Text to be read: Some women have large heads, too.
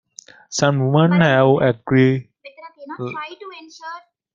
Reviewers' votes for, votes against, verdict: 0, 2, rejected